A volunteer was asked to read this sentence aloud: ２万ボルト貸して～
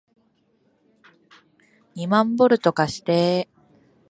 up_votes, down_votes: 0, 2